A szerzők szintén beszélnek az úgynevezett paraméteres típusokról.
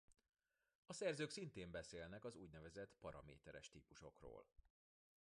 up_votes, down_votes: 0, 2